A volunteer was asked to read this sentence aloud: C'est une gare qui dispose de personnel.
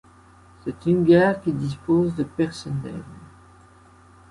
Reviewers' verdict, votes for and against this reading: accepted, 2, 0